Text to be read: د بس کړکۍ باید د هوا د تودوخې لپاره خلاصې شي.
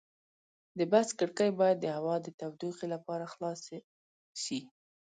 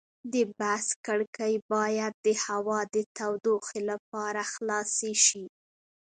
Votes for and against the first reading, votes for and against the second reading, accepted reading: 2, 0, 0, 2, first